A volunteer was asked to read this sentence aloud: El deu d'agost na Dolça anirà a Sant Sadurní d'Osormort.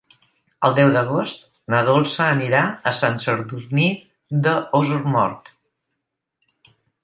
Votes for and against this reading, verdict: 0, 4, rejected